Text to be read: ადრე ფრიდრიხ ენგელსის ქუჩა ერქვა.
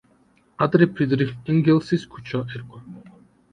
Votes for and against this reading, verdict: 2, 0, accepted